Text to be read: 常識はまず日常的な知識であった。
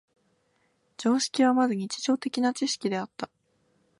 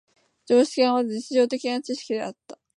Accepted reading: first